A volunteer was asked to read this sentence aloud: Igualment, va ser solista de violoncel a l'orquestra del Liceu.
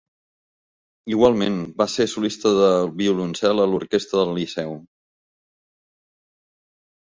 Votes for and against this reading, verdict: 2, 0, accepted